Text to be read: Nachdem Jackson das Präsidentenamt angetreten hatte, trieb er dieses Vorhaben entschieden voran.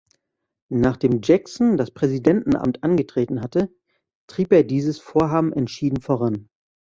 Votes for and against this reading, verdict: 2, 0, accepted